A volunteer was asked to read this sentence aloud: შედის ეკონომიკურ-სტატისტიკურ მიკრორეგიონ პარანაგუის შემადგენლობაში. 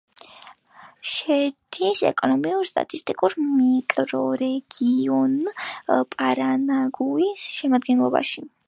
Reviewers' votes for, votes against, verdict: 0, 2, rejected